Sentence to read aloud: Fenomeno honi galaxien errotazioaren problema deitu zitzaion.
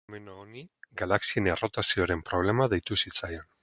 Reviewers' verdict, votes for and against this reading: rejected, 2, 2